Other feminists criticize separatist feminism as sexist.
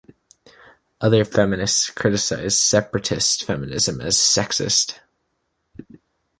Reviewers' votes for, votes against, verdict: 2, 0, accepted